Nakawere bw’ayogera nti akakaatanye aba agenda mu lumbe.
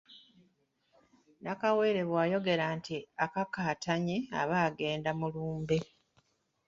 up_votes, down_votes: 2, 1